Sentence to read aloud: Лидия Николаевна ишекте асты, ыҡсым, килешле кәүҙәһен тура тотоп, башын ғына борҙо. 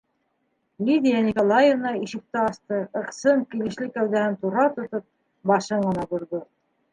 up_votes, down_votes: 2, 0